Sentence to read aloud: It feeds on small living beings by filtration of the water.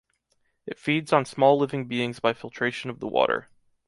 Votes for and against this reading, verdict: 1, 2, rejected